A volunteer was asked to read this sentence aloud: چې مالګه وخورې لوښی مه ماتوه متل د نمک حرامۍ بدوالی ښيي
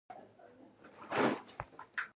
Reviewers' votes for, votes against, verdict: 0, 2, rejected